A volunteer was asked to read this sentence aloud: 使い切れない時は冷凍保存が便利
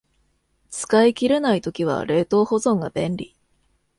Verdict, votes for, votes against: accepted, 2, 0